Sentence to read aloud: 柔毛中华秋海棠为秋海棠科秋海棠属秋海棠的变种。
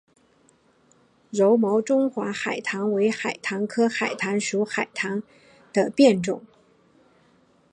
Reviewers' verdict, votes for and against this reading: accepted, 2, 0